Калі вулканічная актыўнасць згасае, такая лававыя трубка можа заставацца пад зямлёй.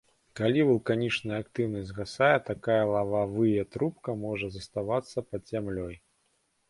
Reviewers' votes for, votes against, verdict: 1, 2, rejected